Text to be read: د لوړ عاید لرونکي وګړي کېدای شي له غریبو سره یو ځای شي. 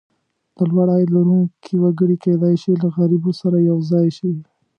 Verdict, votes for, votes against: accepted, 2, 0